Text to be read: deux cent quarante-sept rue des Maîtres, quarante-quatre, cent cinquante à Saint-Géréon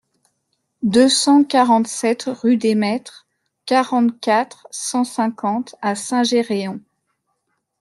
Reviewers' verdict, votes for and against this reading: accepted, 2, 0